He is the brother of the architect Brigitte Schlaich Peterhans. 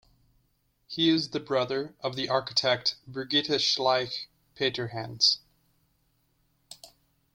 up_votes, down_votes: 0, 2